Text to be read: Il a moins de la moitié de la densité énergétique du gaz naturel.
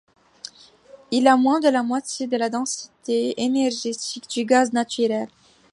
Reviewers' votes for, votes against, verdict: 2, 0, accepted